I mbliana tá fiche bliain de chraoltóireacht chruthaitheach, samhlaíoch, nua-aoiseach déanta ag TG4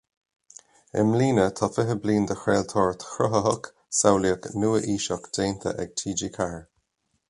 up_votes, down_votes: 0, 2